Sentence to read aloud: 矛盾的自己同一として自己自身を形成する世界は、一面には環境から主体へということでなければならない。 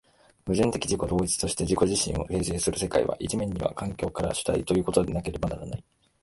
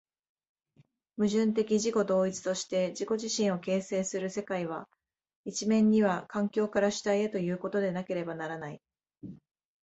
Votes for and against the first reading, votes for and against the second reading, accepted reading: 0, 2, 2, 0, second